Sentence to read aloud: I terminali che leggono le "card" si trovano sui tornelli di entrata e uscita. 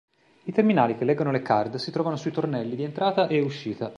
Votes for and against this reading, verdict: 2, 1, accepted